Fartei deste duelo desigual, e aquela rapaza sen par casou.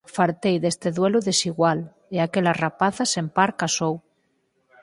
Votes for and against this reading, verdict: 4, 2, accepted